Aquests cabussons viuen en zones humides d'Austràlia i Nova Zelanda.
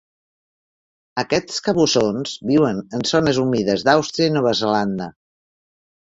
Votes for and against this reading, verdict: 1, 2, rejected